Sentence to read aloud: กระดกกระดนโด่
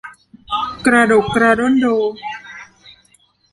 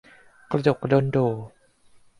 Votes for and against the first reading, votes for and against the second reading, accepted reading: 0, 2, 2, 0, second